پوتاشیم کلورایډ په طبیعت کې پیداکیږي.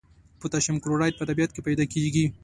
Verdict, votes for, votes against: accepted, 2, 1